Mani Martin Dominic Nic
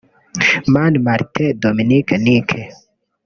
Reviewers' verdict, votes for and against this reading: rejected, 0, 2